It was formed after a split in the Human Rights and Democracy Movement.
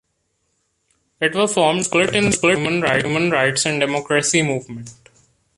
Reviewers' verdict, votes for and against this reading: rejected, 0, 2